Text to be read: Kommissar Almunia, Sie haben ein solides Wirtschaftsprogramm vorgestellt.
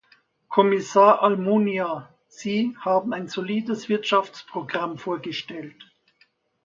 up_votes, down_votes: 2, 0